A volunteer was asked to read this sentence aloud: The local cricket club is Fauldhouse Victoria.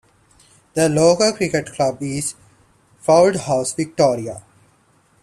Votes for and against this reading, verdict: 2, 0, accepted